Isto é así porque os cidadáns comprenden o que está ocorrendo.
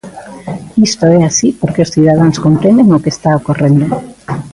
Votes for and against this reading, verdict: 2, 0, accepted